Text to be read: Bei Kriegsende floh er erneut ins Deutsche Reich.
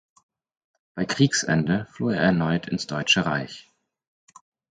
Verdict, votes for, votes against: accepted, 4, 0